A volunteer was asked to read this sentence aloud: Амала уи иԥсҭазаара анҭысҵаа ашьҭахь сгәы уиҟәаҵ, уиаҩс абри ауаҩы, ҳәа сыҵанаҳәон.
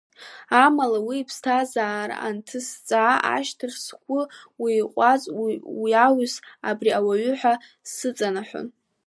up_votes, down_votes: 1, 2